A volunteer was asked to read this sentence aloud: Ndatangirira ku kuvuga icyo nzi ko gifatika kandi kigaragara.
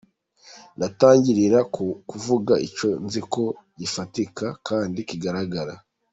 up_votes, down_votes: 2, 1